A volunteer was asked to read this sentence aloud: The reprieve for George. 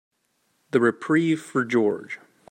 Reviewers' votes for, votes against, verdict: 2, 1, accepted